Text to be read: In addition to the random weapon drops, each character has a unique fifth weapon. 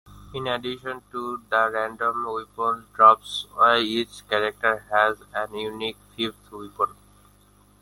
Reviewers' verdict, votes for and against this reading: accepted, 2, 0